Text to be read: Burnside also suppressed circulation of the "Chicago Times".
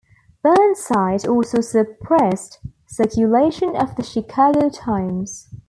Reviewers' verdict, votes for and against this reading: accepted, 2, 0